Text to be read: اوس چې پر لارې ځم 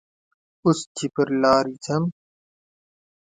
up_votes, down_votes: 2, 0